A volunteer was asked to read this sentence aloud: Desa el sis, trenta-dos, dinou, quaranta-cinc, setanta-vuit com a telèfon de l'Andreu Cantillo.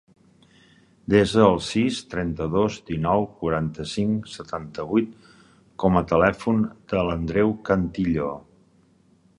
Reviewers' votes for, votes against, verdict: 4, 0, accepted